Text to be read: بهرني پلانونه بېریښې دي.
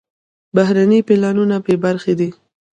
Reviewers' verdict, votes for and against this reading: rejected, 0, 2